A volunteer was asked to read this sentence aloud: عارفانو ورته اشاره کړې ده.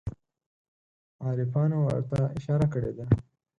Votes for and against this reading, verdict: 4, 0, accepted